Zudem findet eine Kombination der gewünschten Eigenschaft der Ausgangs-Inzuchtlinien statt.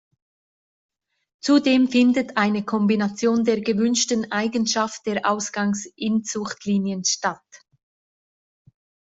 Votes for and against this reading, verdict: 2, 0, accepted